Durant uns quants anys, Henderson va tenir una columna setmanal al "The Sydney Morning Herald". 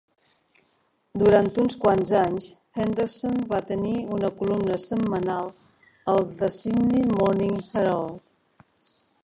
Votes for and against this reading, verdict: 1, 2, rejected